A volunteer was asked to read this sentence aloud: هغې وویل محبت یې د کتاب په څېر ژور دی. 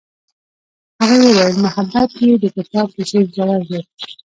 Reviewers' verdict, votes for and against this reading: rejected, 1, 2